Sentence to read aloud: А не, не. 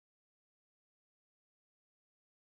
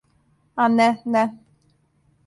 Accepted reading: second